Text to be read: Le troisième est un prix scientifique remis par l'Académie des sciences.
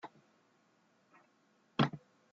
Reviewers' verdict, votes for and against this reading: rejected, 0, 2